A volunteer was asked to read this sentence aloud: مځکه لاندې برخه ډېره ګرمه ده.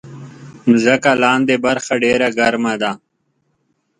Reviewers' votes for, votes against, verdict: 3, 0, accepted